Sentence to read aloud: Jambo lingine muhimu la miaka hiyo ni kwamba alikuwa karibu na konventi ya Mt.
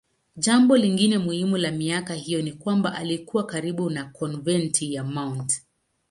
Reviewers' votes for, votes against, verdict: 1, 2, rejected